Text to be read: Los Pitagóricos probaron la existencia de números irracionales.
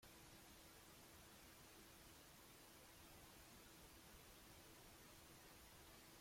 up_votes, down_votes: 0, 2